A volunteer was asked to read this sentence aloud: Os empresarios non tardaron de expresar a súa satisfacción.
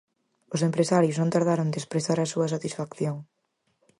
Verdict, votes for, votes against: accepted, 4, 0